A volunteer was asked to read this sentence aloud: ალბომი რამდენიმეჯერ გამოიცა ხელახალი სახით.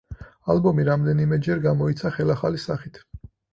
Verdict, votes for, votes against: accepted, 4, 0